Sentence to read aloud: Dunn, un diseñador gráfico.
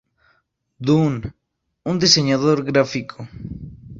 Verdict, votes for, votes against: accepted, 4, 0